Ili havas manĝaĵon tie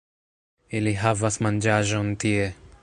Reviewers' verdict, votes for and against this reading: accepted, 2, 0